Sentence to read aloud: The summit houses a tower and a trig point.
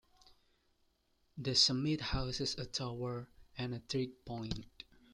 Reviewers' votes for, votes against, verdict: 2, 1, accepted